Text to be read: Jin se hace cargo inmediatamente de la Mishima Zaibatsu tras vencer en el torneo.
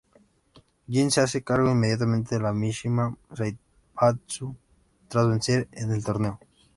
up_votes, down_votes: 0, 2